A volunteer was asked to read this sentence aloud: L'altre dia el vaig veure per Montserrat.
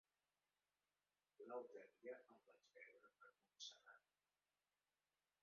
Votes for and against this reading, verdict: 0, 2, rejected